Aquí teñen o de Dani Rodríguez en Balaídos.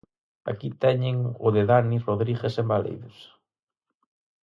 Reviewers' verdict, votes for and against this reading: accepted, 4, 0